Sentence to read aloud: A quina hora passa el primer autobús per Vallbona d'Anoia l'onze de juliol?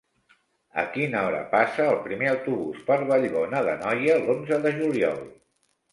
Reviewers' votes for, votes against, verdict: 2, 0, accepted